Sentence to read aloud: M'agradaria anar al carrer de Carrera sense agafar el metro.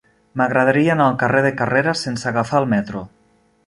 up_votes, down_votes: 3, 0